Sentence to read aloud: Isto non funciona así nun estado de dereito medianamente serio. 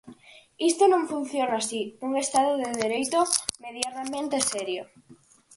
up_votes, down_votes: 4, 0